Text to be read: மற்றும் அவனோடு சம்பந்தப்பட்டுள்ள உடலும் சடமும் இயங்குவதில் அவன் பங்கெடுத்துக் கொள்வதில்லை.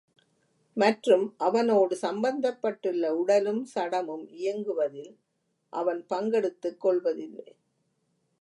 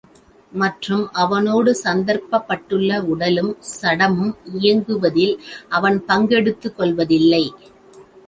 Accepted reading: first